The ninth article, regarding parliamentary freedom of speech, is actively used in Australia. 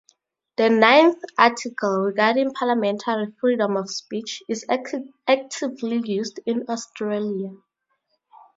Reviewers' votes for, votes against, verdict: 2, 2, rejected